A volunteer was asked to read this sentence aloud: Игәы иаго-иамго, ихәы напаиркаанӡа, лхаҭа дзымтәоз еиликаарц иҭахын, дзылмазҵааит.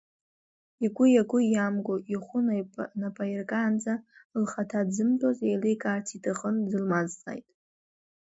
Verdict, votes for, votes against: rejected, 0, 2